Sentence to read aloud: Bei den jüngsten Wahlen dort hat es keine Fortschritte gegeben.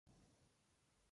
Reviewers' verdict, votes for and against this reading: rejected, 0, 2